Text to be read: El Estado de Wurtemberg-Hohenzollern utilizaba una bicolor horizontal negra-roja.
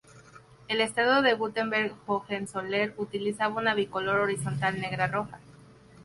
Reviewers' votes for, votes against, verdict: 2, 0, accepted